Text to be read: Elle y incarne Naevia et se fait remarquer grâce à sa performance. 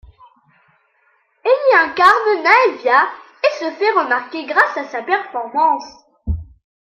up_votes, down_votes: 2, 0